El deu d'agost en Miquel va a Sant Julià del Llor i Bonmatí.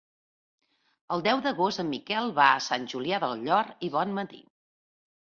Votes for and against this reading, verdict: 2, 0, accepted